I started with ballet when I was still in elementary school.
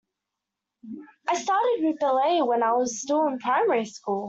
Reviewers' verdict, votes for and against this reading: rejected, 0, 2